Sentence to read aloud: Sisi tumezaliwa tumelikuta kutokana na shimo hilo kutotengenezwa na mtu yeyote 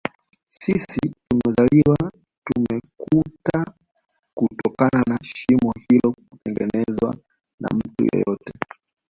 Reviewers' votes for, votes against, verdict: 2, 0, accepted